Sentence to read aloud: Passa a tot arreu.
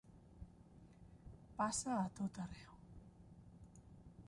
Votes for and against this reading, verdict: 0, 2, rejected